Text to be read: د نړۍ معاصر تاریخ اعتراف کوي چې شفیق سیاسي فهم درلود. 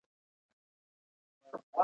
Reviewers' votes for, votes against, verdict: 1, 2, rejected